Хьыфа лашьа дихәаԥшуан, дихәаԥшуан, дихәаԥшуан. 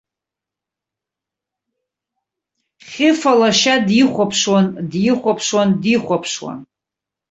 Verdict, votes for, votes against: accepted, 2, 0